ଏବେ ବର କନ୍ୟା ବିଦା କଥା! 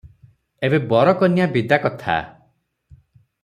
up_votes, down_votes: 6, 0